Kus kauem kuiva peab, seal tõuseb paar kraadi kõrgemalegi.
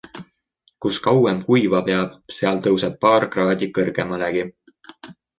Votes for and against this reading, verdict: 2, 0, accepted